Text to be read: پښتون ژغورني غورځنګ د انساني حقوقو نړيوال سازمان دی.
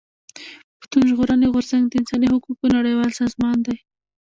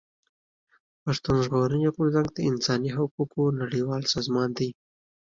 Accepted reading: second